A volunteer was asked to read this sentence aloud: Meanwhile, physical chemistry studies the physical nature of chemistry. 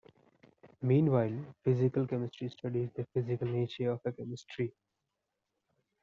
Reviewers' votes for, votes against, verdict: 0, 2, rejected